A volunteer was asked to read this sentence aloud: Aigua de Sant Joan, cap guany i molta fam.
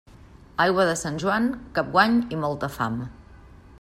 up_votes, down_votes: 2, 0